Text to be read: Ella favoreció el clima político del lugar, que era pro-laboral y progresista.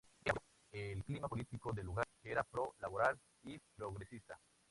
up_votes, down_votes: 2, 0